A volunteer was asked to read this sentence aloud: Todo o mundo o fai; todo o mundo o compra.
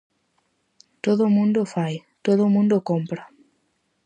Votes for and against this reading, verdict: 4, 0, accepted